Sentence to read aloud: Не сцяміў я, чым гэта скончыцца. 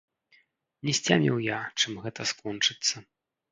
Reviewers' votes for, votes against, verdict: 0, 2, rejected